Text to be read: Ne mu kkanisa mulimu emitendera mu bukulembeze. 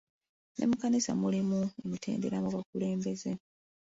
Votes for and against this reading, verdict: 2, 0, accepted